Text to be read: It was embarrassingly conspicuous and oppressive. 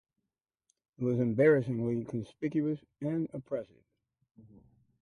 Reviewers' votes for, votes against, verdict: 0, 2, rejected